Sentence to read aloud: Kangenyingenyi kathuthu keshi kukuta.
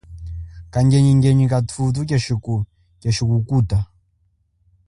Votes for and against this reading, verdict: 2, 0, accepted